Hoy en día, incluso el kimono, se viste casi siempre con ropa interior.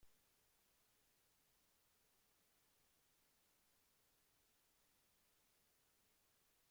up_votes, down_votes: 0, 2